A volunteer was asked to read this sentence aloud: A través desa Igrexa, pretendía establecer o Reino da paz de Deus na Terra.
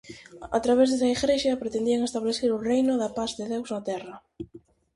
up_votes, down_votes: 0, 4